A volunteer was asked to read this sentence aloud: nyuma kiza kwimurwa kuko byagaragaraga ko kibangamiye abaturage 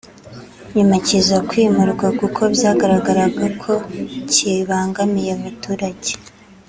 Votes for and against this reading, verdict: 2, 0, accepted